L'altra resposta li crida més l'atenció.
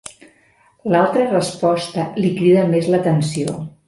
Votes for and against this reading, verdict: 2, 0, accepted